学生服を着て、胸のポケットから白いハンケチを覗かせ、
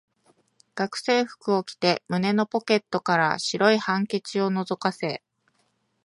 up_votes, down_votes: 2, 0